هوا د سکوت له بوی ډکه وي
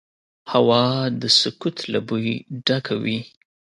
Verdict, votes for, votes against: accepted, 2, 0